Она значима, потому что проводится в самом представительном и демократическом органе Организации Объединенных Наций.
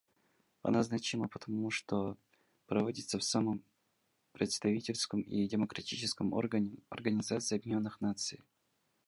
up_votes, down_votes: 0, 2